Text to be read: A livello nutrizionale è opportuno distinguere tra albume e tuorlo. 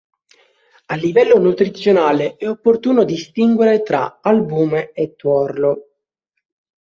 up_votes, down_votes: 2, 0